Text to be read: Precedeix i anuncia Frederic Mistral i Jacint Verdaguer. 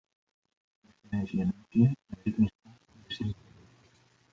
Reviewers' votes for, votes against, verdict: 0, 2, rejected